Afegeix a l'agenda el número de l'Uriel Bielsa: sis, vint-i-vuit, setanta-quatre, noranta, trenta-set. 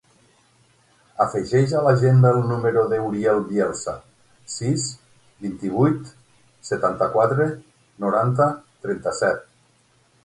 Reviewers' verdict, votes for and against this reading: rejected, 0, 6